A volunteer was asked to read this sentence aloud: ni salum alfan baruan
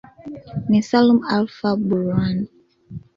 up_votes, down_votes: 2, 1